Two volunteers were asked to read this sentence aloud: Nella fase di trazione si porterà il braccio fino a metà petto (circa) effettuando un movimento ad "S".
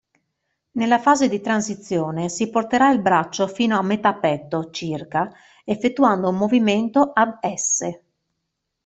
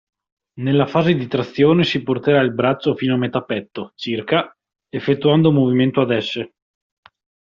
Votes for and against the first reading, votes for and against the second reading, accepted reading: 1, 2, 2, 1, second